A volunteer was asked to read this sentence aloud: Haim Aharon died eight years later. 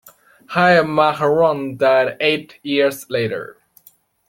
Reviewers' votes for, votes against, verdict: 2, 1, accepted